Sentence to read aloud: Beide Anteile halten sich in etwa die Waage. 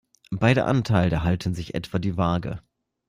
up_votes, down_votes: 0, 2